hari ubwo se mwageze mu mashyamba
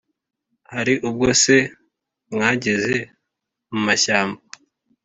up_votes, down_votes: 2, 0